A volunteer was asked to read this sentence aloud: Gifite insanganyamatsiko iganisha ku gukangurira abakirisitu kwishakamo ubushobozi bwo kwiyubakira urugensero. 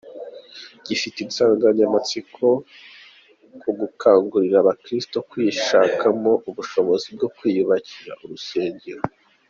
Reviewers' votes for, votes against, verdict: 1, 3, rejected